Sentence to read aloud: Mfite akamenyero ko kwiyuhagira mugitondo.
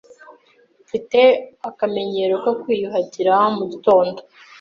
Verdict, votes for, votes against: accepted, 2, 0